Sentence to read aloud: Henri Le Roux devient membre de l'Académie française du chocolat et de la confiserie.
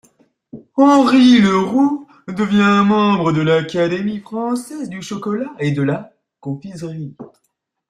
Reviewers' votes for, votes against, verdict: 2, 0, accepted